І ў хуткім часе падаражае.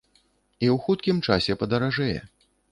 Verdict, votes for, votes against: rejected, 1, 2